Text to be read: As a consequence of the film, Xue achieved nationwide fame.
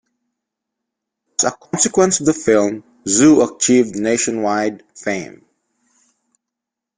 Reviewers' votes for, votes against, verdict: 0, 2, rejected